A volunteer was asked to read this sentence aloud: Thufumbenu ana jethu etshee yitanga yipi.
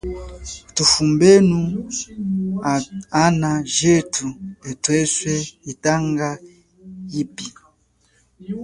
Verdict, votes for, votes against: rejected, 1, 2